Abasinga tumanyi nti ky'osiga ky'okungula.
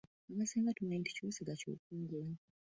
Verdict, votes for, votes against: rejected, 1, 2